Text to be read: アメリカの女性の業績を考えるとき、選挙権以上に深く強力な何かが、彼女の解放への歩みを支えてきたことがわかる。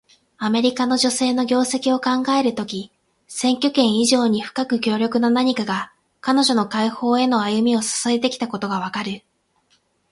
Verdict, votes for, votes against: accepted, 8, 0